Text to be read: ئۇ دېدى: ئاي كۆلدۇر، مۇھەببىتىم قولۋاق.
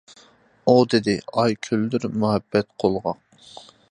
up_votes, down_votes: 0, 2